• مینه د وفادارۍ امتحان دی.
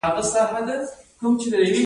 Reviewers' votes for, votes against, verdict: 1, 2, rejected